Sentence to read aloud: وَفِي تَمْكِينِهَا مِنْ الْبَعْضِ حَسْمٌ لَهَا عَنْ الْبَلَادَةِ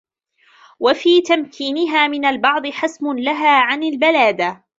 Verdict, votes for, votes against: rejected, 0, 2